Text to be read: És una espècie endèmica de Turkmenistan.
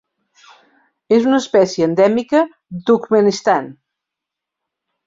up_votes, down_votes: 0, 2